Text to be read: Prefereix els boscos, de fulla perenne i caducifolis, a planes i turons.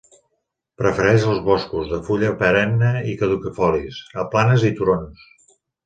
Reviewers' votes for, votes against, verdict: 1, 2, rejected